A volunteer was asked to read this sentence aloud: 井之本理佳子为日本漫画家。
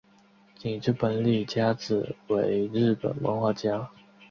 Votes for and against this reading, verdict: 3, 1, accepted